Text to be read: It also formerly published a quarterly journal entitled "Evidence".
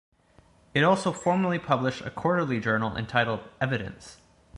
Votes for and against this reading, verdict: 2, 0, accepted